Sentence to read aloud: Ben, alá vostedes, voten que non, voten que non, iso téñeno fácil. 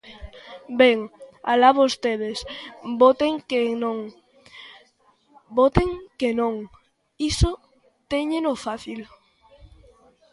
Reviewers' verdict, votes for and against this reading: rejected, 1, 2